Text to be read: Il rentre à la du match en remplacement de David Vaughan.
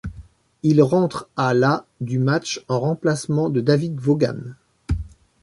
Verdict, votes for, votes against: accepted, 2, 0